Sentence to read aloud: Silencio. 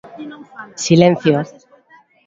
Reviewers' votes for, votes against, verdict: 2, 0, accepted